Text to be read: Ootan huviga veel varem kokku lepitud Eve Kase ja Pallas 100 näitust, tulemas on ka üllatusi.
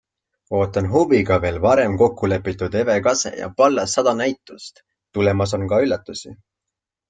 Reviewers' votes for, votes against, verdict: 0, 2, rejected